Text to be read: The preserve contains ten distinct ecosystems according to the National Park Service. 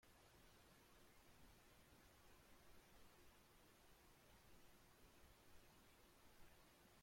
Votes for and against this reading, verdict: 0, 2, rejected